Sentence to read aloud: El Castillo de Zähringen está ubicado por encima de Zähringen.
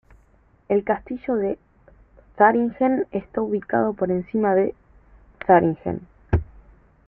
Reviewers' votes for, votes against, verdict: 2, 1, accepted